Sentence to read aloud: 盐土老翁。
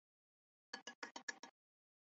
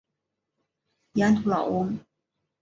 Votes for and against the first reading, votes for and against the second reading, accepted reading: 0, 2, 4, 0, second